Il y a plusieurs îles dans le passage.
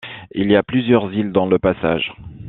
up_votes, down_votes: 2, 0